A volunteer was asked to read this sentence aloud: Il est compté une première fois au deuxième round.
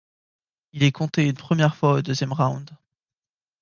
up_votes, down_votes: 0, 2